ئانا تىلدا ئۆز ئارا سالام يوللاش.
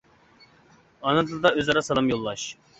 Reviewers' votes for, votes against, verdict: 2, 1, accepted